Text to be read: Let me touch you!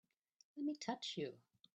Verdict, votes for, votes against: rejected, 0, 2